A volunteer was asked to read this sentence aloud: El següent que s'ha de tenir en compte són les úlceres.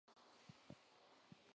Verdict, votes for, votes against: rejected, 0, 2